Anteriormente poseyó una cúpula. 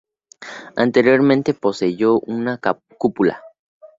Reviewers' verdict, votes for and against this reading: rejected, 0, 2